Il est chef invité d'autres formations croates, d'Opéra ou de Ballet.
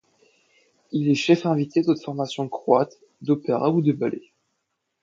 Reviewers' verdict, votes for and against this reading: rejected, 0, 2